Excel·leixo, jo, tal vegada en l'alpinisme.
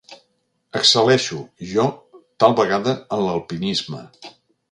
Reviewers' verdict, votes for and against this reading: accepted, 3, 0